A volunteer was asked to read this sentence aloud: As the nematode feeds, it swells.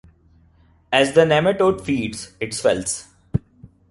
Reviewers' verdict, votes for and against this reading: accepted, 2, 0